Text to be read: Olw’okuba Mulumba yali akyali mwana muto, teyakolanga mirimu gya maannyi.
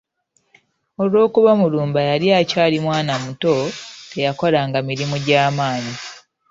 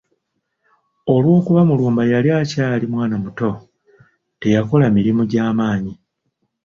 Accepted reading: first